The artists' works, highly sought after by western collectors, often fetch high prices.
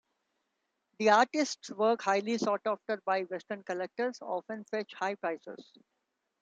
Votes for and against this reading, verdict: 2, 1, accepted